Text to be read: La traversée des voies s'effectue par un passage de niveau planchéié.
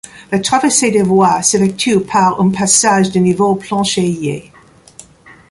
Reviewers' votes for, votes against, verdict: 2, 1, accepted